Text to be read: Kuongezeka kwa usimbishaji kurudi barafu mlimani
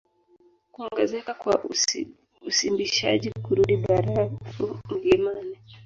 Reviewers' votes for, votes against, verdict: 2, 0, accepted